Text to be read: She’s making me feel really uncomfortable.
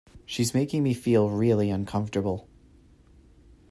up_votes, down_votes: 2, 0